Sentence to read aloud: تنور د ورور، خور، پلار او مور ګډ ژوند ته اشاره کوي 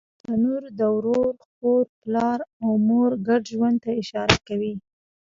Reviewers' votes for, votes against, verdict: 1, 2, rejected